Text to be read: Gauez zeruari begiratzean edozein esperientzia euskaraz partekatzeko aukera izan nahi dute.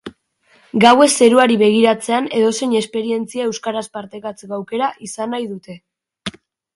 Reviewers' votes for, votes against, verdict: 6, 0, accepted